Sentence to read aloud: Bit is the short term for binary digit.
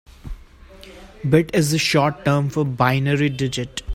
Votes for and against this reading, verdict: 1, 2, rejected